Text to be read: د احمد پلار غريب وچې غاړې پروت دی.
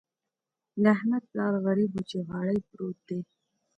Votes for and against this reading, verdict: 2, 0, accepted